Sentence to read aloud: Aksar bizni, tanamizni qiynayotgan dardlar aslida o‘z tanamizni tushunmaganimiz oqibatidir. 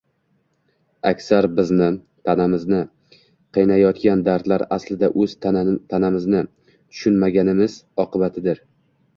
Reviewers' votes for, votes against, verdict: 1, 2, rejected